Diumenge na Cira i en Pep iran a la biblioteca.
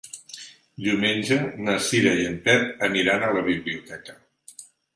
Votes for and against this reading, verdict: 0, 2, rejected